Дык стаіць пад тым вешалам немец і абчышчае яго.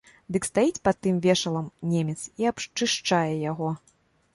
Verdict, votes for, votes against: rejected, 1, 2